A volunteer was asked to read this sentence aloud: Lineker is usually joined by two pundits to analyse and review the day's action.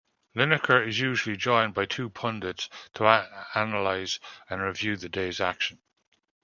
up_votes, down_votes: 2, 0